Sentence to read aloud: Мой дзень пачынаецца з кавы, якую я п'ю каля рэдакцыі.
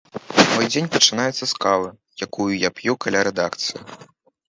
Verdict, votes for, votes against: rejected, 0, 2